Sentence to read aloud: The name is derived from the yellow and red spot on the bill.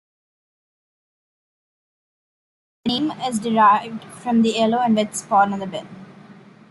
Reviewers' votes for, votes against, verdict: 1, 3, rejected